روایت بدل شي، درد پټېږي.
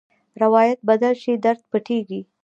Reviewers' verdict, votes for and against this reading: accepted, 2, 0